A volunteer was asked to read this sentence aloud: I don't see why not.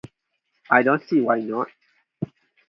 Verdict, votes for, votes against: accepted, 4, 0